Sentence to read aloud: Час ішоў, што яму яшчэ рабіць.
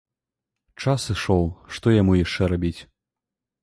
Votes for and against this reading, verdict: 2, 0, accepted